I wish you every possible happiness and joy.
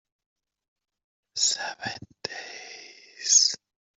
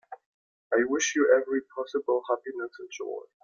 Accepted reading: second